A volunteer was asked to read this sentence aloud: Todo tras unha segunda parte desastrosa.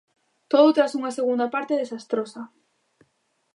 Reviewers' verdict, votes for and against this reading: accepted, 2, 0